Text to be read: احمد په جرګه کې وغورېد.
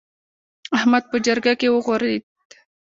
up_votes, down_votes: 1, 2